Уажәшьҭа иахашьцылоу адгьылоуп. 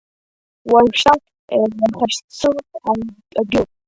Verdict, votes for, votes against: rejected, 0, 2